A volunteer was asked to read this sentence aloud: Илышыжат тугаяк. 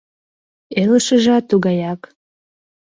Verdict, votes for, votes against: accepted, 2, 0